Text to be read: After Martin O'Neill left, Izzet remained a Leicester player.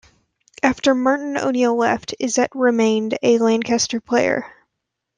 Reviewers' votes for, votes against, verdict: 1, 2, rejected